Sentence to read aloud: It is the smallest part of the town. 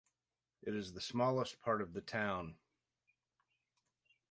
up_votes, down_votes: 2, 0